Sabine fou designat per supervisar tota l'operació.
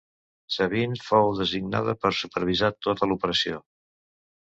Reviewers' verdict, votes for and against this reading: rejected, 0, 2